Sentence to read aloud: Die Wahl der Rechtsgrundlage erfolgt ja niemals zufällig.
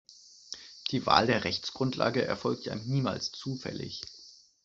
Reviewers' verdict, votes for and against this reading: accepted, 2, 0